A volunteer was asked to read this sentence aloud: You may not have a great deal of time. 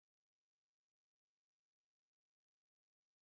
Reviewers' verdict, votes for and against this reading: rejected, 0, 3